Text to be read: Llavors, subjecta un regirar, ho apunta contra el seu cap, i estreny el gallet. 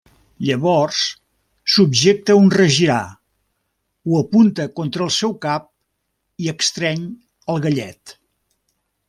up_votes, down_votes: 1, 2